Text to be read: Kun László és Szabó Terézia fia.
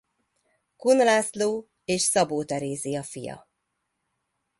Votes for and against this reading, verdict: 2, 0, accepted